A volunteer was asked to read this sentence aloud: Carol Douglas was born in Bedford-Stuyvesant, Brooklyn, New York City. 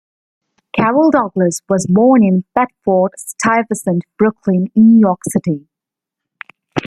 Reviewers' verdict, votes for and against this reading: accepted, 2, 1